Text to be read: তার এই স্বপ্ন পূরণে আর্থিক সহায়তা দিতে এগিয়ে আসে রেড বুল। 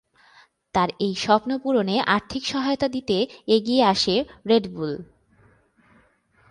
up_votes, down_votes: 12, 1